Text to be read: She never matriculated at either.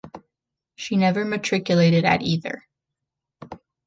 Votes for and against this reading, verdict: 2, 0, accepted